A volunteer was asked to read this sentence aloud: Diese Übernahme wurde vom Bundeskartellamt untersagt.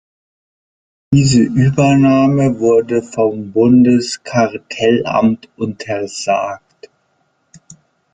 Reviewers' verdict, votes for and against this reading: accepted, 2, 0